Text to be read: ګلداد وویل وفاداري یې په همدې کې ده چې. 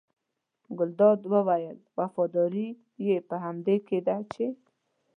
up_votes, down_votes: 2, 0